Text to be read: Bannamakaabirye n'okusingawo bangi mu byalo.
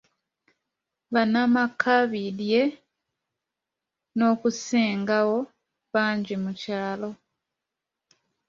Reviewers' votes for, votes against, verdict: 0, 2, rejected